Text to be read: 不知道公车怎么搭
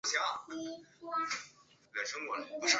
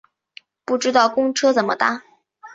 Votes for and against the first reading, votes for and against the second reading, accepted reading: 1, 2, 2, 0, second